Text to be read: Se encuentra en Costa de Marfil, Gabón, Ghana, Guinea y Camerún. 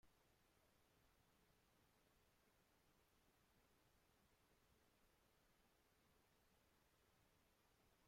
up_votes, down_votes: 0, 2